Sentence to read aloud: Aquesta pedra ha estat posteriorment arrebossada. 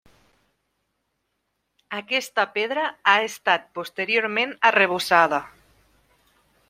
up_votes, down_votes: 1, 2